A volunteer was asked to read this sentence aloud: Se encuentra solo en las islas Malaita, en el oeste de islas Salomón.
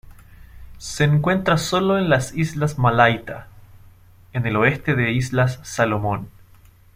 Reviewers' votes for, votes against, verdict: 2, 0, accepted